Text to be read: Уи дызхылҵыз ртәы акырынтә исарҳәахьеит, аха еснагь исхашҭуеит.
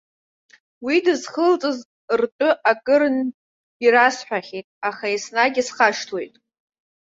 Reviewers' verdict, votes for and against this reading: rejected, 0, 2